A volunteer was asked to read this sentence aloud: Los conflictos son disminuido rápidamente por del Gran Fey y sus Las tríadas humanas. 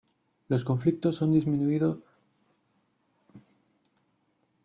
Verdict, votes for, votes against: rejected, 1, 2